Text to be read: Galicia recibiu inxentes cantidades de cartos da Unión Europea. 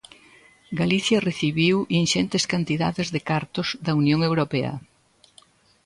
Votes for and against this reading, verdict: 2, 0, accepted